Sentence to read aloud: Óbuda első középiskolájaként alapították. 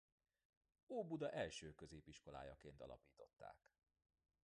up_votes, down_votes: 2, 0